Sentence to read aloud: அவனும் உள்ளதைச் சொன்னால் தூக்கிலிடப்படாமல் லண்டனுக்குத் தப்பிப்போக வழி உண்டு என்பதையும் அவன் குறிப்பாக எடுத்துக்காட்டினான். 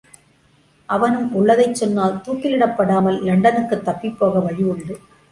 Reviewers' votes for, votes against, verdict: 0, 2, rejected